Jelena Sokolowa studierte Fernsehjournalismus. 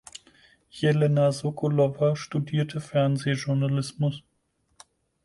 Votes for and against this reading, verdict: 4, 0, accepted